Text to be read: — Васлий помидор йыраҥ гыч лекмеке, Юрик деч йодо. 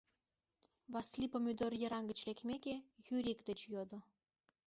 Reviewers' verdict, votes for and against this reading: accepted, 2, 0